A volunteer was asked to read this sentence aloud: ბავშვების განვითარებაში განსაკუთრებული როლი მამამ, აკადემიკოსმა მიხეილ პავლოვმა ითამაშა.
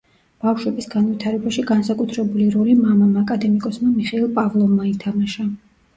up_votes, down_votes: 2, 1